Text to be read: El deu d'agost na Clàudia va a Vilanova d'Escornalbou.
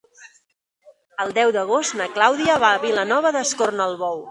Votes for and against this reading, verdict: 2, 0, accepted